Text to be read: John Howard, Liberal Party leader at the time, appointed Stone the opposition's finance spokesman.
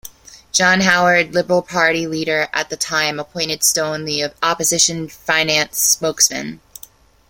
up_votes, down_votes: 0, 2